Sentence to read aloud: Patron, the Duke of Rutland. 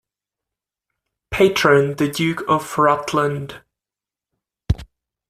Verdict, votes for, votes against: accepted, 2, 0